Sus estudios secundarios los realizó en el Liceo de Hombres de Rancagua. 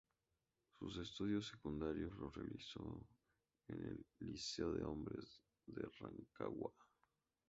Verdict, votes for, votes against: rejected, 0, 2